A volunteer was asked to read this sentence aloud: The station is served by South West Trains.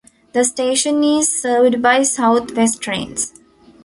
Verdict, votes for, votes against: accepted, 2, 0